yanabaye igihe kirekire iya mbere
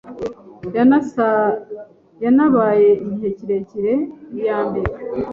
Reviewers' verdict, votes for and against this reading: rejected, 1, 2